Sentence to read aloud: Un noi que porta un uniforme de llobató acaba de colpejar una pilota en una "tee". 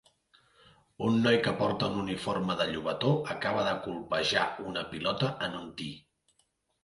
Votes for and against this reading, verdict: 0, 2, rejected